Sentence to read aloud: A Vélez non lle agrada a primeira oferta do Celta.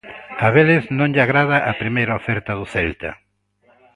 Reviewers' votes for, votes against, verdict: 1, 2, rejected